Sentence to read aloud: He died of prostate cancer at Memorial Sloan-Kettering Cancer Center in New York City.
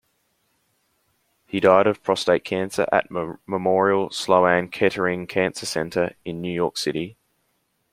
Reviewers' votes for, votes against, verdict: 2, 1, accepted